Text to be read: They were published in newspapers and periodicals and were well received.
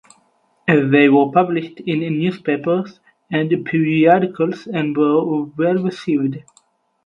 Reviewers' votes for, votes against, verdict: 4, 2, accepted